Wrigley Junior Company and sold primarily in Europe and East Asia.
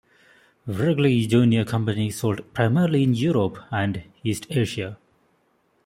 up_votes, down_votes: 0, 2